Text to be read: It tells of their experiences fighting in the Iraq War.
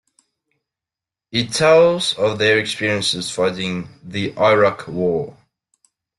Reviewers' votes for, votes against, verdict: 2, 1, accepted